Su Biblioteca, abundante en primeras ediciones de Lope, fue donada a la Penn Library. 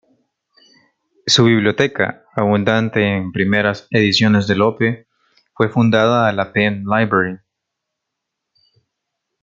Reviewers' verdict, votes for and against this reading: rejected, 1, 2